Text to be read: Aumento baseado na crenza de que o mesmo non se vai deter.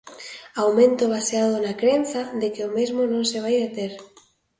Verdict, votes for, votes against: accepted, 2, 0